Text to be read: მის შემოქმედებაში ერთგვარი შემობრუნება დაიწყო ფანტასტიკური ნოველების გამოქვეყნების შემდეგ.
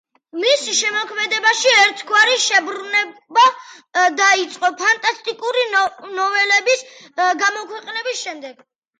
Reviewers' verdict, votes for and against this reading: accepted, 2, 1